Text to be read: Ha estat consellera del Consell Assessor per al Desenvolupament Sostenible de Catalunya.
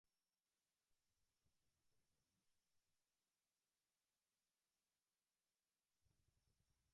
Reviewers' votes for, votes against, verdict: 0, 2, rejected